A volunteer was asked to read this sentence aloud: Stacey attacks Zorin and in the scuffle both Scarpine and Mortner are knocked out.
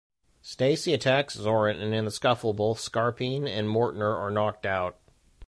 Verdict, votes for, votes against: accepted, 2, 0